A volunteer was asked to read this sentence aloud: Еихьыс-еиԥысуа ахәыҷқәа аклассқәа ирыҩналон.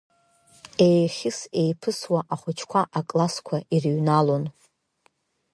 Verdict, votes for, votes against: accepted, 8, 1